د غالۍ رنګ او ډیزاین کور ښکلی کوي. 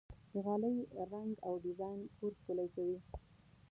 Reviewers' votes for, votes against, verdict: 0, 2, rejected